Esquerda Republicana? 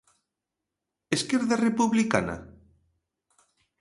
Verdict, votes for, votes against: accepted, 3, 0